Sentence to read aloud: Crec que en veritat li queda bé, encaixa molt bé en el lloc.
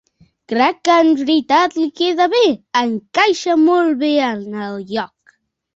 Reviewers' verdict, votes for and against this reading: accepted, 2, 1